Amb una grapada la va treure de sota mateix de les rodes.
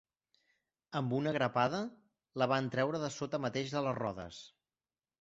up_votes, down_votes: 0, 2